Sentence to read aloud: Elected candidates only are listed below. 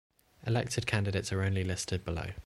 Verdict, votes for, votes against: rejected, 2, 3